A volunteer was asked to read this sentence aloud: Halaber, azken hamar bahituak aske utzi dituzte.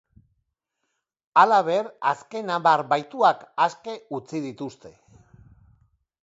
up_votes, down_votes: 4, 0